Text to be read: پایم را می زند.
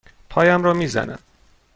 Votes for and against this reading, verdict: 2, 0, accepted